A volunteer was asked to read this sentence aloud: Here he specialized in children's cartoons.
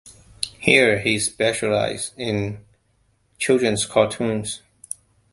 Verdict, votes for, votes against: accepted, 2, 0